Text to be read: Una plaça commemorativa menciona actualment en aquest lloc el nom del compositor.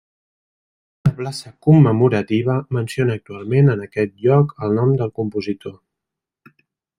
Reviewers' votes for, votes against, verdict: 0, 2, rejected